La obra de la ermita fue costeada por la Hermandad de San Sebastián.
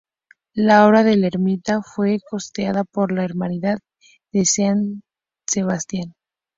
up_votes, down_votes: 0, 4